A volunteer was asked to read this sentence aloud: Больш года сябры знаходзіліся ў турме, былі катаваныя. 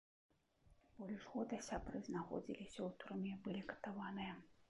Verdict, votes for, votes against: rejected, 0, 2